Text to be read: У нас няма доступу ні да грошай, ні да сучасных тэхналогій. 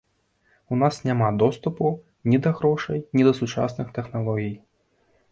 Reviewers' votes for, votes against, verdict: 2, 0, accepted